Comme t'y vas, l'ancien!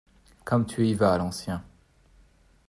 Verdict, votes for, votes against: rejected, 0, 2